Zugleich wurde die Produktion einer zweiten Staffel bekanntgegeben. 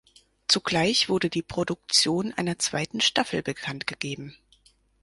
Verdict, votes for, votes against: accepted, 4, 0